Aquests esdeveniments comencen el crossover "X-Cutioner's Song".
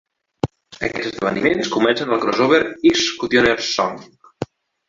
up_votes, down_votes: 2, 1